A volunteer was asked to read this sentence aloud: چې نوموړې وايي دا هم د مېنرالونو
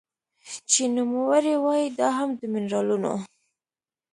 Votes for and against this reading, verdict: 2, 0, accepted